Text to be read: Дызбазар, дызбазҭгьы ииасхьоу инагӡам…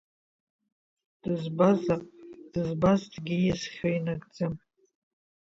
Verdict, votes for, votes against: rejected, 0, 2